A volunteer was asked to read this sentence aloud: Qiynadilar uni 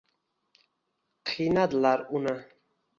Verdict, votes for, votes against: accepted, 2, 0